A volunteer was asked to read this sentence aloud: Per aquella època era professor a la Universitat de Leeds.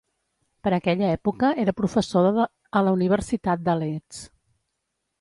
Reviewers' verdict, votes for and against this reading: rejected, 0, 2